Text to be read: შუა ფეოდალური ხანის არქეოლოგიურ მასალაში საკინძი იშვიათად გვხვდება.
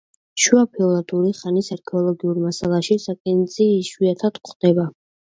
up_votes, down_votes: 0, 2